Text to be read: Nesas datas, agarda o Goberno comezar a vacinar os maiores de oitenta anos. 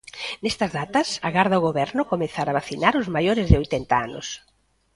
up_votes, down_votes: 0, 2